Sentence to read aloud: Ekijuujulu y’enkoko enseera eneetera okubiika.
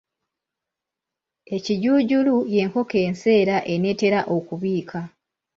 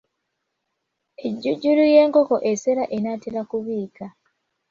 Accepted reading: first